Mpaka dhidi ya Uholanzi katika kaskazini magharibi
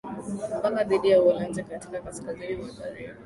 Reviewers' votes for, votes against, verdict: 0, 2, rejected